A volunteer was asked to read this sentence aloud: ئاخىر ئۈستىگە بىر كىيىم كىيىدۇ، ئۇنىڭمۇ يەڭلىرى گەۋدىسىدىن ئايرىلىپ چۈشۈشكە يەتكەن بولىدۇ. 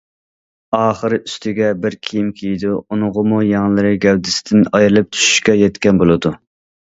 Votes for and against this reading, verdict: 1, 2, rejected